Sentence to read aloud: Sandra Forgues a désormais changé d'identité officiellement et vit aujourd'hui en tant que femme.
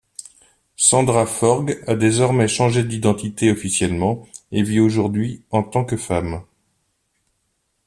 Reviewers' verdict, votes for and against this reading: accepted, 2, 0